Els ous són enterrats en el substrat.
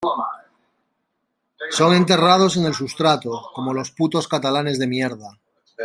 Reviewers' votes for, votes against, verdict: 0, 2, rejected